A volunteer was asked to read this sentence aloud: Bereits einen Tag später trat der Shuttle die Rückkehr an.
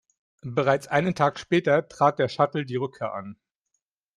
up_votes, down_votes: 2, 0